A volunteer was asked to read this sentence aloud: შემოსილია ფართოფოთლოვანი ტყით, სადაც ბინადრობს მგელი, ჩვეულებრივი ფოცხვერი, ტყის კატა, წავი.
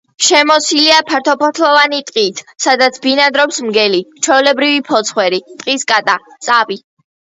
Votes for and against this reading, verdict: 1, 2, rejected